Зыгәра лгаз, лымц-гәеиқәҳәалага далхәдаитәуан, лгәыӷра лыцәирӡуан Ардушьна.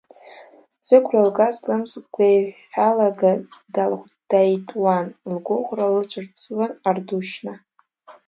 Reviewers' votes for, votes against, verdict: 0, 2, rejected